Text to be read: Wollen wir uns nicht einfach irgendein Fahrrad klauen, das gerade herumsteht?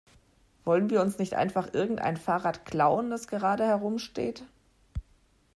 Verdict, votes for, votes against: accepted, 2, 0